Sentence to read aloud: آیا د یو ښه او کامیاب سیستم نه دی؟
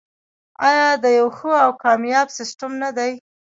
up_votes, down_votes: 2, 0